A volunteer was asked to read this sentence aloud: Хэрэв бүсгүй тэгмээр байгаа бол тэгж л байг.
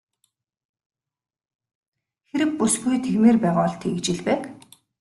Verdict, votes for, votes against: accepted, 2, 0